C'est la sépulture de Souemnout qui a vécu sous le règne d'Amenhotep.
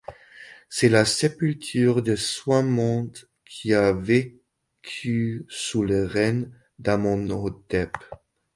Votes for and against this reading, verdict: 1, 2, rejected